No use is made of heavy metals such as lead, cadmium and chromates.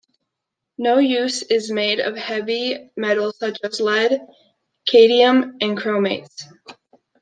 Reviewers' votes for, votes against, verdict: 1, 2, rejected